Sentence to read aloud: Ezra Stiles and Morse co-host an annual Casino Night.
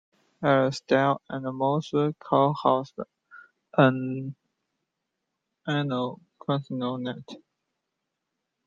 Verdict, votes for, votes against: accepted, 2, 0